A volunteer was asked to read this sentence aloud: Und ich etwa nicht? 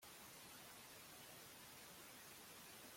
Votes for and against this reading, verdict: 0, 2, rejected